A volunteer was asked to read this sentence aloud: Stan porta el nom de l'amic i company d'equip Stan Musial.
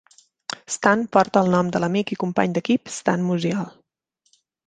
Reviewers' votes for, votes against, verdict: 3, 0, accepted